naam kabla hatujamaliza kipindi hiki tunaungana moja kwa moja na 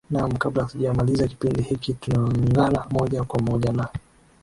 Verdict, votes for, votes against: accepted, 2, 0